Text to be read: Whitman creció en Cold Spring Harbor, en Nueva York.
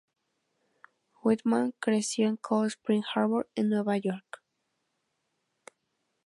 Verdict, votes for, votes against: rejected, 0, 2